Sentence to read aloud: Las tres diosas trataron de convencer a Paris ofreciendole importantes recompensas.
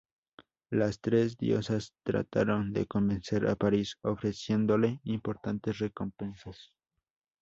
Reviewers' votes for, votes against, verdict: 2, 0, accepted